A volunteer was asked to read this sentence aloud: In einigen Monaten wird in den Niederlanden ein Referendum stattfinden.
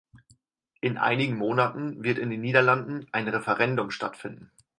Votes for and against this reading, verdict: 4, 0, accepted